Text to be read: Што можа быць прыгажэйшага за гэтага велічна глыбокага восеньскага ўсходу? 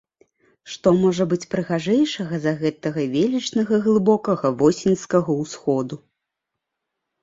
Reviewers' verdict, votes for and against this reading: rejected, 1, 2